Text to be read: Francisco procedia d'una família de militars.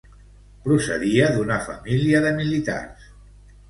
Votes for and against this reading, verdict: 0, 2, rejected